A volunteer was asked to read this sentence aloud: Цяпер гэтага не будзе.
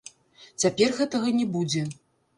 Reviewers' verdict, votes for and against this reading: rejected, 2, 3